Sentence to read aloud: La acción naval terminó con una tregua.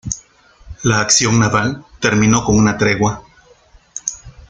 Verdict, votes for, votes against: accepted, 2, 0